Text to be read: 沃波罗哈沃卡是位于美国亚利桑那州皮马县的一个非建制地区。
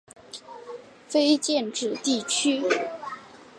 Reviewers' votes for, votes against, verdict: 0, 2, rejected